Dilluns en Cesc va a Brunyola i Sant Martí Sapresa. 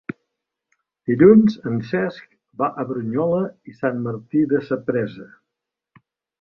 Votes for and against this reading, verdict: 0, 2, rejected